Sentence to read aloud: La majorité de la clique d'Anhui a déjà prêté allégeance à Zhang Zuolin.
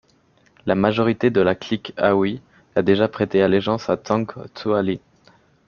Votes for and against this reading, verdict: 2, 1, accepted